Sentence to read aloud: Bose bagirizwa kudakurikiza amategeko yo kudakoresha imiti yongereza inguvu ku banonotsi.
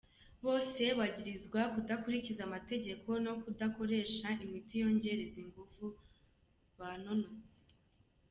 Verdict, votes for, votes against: accepted, 2, 1